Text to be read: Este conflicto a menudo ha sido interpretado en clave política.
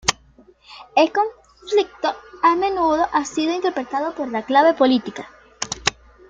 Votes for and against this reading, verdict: 1, 5, rejected